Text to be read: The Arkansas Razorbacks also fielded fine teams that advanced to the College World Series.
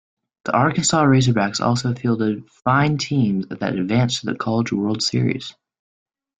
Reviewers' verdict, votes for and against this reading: accepted, 2, 0